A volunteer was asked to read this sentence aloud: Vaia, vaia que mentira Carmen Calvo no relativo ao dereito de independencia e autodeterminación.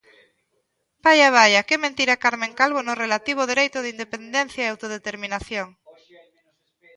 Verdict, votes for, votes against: accepted, 2, 1